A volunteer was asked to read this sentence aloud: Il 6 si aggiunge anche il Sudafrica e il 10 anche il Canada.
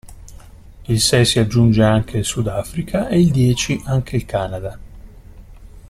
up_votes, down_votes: 0, 2